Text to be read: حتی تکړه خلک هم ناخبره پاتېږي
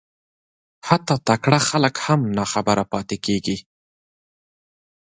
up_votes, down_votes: 1, 2